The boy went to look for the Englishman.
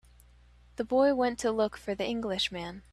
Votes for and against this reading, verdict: 2, 0, accepted